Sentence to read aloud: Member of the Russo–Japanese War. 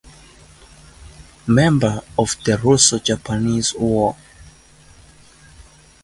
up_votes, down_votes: 2, 2